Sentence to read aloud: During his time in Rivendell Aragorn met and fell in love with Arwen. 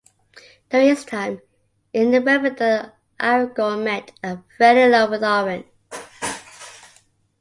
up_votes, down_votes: 2, 0